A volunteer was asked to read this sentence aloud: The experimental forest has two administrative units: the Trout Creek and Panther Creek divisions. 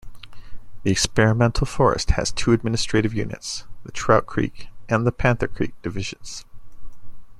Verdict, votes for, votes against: rejected, 0, 2